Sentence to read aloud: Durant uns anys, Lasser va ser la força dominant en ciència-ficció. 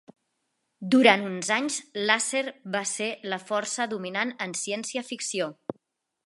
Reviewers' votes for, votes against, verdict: 2, 0, accepted